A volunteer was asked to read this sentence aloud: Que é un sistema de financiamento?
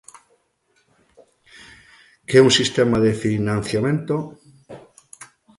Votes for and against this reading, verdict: 2, 0, accepted